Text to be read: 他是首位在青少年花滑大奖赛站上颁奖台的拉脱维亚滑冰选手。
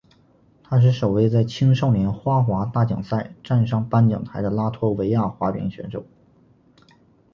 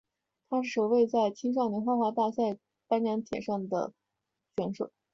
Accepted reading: first